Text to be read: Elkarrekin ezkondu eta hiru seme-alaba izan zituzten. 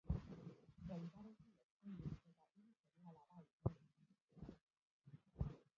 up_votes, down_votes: 0, 2